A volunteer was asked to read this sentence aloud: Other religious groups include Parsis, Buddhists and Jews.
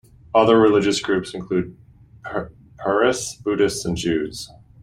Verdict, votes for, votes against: rejected, 0, 2